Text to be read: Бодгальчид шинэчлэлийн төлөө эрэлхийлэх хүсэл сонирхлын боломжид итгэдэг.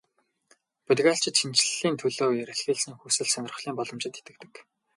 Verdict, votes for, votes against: rejected, 2, 2